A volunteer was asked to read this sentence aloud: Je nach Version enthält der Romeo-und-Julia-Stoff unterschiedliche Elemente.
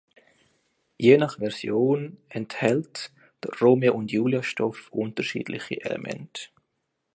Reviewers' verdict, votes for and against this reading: accepted, 2, 0